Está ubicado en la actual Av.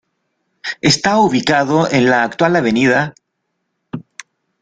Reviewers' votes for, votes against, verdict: 1, 2, rejected